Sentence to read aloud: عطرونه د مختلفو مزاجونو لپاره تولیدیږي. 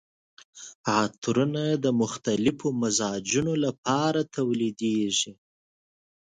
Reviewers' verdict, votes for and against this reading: accepted, 2, 0